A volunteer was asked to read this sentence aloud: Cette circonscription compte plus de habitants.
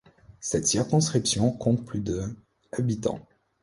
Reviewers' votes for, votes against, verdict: 1, 2, rejected